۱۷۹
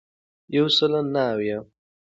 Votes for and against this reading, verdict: 0, 2, rejected